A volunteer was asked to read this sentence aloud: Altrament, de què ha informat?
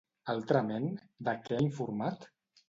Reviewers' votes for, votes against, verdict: 2, 0, accepted